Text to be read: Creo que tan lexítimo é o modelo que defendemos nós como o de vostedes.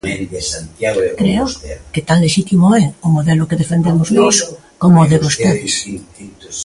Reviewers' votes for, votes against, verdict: 0, 2, rejected